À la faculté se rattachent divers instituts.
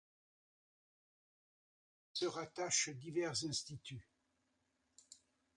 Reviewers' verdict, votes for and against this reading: rejected, 0, 2